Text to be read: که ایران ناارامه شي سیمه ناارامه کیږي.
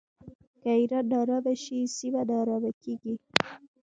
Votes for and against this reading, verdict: 0, 2, rejected